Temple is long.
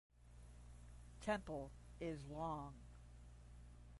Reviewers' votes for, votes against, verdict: 5, 5, rejected